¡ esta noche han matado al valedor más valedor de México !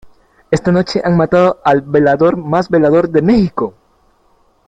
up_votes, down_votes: 1, 3